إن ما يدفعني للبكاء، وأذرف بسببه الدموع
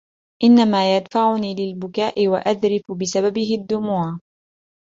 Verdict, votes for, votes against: accepted, 2, 1